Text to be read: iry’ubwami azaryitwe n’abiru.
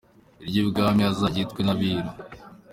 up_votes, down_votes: 2, 0